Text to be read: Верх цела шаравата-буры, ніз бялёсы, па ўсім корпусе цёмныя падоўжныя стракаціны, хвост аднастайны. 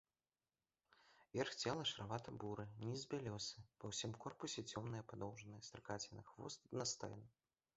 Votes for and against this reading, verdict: 2, 1, accepted